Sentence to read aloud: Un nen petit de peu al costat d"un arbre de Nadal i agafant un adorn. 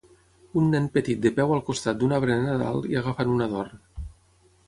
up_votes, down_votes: 6, 3